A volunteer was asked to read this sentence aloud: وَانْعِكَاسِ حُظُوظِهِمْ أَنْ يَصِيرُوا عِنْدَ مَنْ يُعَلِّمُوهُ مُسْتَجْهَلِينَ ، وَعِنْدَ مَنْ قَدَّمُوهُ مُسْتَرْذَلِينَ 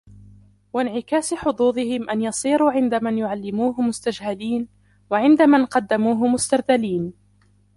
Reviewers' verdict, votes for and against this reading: rejected, 0, 2